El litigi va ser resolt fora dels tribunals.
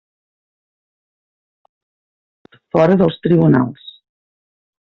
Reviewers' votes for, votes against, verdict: 0, 2, rejected